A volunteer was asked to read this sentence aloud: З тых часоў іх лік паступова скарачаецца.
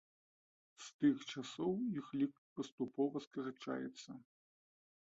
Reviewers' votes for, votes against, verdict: 2, 0, accepted